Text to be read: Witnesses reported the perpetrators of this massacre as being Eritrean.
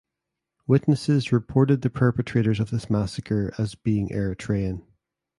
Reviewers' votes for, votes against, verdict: 2, 0, accepted